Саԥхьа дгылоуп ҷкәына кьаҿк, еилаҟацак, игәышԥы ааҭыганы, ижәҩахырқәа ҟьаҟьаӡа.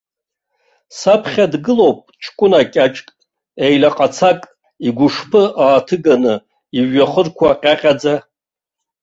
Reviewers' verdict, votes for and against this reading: rejected, 0, 2